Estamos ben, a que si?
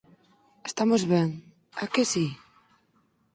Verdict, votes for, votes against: accepted, 4, 0